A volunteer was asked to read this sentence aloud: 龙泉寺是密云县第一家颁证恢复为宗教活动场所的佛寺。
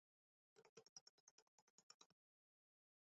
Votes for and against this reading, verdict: 0, 4, rejected